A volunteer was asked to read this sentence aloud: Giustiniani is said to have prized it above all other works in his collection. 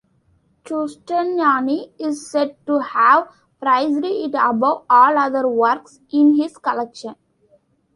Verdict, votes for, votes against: rejected, 1, 2